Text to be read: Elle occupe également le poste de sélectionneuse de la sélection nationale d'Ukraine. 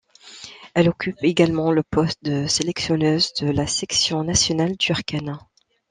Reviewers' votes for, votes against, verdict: 0, 2, rejected